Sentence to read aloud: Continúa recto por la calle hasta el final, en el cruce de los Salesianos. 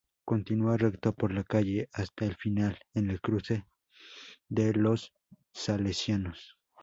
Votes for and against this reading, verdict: 4, 0, accepted